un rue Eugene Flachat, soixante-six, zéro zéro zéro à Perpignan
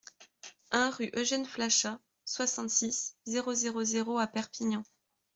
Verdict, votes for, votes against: accepted, 2, 0